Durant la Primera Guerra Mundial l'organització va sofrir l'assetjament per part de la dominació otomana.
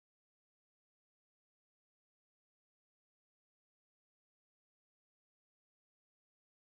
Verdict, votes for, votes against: rejected, 0, 2